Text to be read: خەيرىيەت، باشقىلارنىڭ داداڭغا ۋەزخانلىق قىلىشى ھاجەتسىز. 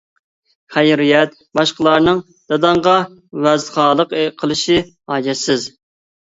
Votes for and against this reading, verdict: 1, 2, rejected